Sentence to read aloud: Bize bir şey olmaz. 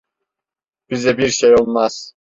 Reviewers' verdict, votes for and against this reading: accepted, 2, 0